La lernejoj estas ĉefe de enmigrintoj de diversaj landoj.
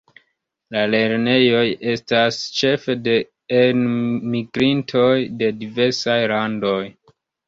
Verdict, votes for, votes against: rejected, 2, 3